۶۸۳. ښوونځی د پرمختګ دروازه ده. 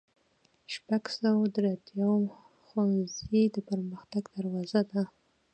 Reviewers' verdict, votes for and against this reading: rejected, 0, 2